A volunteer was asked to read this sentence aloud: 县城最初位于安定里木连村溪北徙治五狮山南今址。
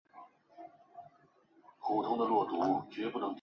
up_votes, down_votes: 1, 2